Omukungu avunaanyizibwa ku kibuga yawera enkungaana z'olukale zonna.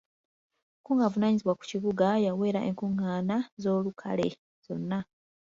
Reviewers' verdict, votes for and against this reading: accepted, 2, 0